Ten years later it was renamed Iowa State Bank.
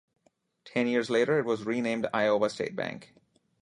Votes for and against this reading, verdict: 2, 0, accepted